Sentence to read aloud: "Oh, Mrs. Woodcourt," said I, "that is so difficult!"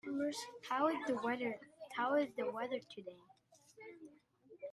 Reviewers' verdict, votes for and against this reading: rejected, 0, 2